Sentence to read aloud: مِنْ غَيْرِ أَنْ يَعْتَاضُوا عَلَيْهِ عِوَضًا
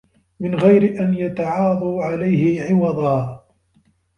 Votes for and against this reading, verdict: 1, 2, rejected